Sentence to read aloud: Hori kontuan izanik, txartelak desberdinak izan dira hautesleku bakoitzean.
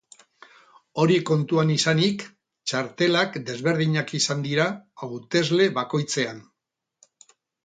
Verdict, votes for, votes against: rejected, 0, 4